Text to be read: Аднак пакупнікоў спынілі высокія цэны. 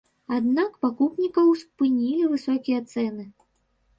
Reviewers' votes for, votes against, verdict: 1, 2, rejected